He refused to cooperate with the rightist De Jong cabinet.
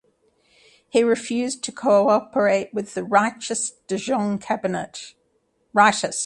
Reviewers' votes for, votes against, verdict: 0, 2, rejected